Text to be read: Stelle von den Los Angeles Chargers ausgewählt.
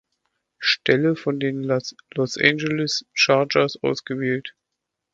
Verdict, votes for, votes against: rejected, 1, 2